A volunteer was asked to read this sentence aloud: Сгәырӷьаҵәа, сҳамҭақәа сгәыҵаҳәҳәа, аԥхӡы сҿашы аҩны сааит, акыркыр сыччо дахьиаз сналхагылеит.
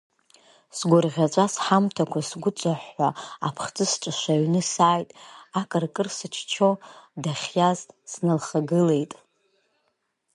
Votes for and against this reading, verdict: 1, 2, rejected